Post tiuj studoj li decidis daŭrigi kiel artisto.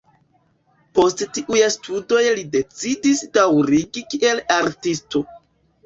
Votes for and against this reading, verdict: 2, 1, accepted